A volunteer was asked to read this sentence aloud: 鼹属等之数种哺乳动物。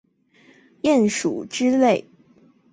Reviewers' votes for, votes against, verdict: 1, 2, rejected